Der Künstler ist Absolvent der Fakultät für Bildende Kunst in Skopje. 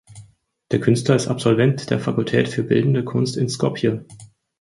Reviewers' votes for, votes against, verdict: 4, 0, accepted